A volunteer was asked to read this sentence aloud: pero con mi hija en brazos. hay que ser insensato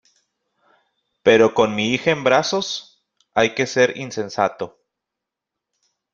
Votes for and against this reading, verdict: 2, 0, accepted